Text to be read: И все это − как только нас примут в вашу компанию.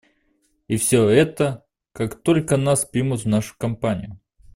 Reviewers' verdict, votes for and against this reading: rejected, 0, 2